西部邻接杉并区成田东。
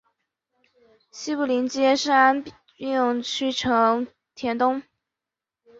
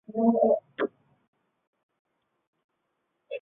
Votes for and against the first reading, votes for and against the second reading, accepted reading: 4, 0, 0, 2, first